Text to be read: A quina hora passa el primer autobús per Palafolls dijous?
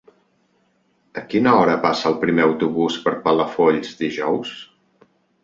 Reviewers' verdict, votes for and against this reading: accepted, 3, 0